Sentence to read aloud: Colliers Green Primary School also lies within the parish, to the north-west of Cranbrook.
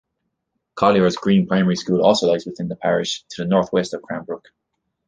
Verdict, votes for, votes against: accepted, 2, 0